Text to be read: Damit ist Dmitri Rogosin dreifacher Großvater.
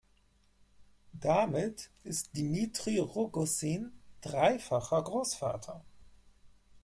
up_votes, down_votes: 2, 4